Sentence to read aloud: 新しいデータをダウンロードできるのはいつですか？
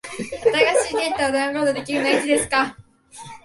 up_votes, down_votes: 7, 2